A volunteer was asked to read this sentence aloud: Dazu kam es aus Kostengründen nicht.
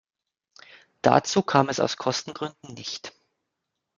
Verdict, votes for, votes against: accepted, 2, 0